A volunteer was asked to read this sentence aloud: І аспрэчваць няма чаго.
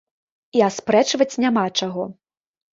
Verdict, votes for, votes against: accepted, 2, 0